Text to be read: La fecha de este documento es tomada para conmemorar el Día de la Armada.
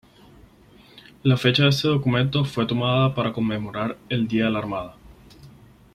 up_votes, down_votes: 4, 6